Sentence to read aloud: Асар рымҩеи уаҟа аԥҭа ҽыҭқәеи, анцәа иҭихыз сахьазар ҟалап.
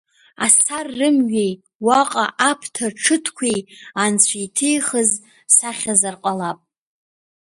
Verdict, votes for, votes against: rejected, 1, 2